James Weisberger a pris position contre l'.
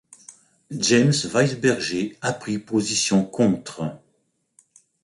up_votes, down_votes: 0, 2